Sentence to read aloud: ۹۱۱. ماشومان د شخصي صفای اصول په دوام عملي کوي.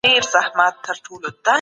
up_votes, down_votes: 0, 2